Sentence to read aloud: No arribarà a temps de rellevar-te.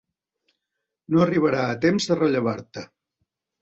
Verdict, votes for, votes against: accepted, 3, 0